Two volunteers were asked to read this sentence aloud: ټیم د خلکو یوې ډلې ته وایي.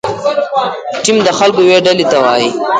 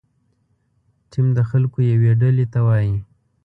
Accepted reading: second